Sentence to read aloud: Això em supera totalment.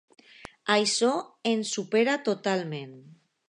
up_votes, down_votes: 2, 0